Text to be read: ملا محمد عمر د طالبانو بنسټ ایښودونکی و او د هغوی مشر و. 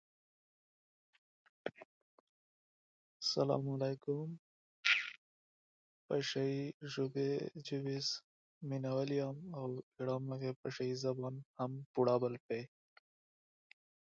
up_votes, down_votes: 1, 2